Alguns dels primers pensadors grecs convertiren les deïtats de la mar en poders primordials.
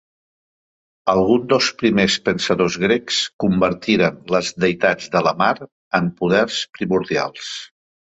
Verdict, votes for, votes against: accepted, 2, 1